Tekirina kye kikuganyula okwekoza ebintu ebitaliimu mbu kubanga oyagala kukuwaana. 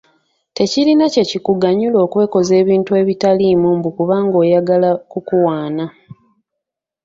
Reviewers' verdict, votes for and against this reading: accepted, 2, 0